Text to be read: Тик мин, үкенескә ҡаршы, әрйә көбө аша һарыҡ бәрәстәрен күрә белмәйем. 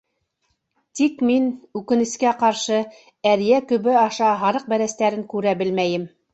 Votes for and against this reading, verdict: 2, 0, accepted